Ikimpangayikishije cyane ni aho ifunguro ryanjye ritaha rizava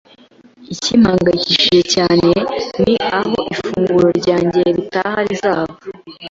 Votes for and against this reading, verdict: 1, 2, rejected